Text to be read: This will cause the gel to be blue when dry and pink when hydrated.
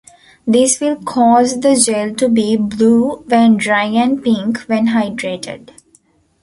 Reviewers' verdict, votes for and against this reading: accepted, 2, 0